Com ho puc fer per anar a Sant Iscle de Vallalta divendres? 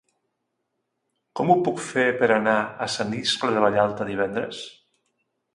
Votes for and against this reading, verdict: 3, 0, accepted